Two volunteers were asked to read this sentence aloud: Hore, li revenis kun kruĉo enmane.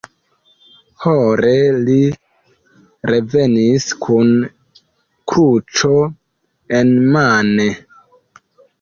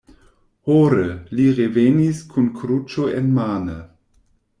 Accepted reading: second